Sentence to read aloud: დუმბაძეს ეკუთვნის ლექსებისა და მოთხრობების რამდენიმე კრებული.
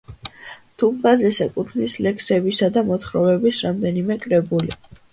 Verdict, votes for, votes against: accepted, 2, 1